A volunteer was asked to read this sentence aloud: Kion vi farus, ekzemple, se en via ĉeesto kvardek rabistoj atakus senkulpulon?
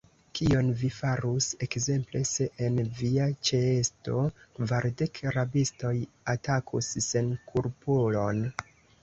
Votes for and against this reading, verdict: 2, 1, accepted